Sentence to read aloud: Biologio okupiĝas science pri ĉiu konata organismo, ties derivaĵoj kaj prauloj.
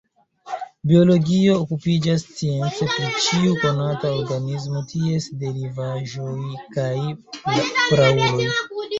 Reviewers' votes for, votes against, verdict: 2, 0, accepted